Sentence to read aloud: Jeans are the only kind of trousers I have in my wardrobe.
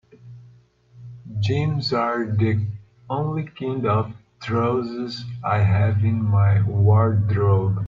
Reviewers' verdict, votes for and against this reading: rejected, 1, 2